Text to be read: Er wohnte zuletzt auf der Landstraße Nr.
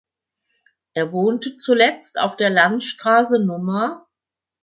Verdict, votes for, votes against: accepted, 4, 0